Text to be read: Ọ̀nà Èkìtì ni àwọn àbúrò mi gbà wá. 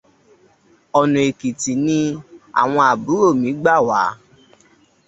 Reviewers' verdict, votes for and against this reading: accepted, 2, 0